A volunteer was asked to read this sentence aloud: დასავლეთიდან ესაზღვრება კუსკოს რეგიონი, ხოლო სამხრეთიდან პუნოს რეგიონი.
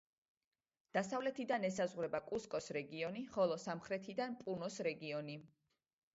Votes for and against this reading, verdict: 2, 0, accepted